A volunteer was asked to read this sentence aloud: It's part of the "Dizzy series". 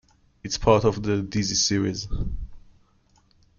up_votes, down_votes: 2, 1